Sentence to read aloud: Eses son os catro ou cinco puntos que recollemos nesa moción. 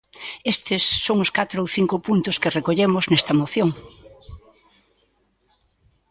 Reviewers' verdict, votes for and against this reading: rejected, 0, 2